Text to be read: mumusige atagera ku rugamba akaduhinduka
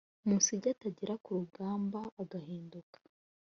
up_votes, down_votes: 0, 2